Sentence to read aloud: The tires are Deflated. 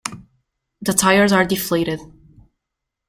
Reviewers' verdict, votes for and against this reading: accepted, 2, 0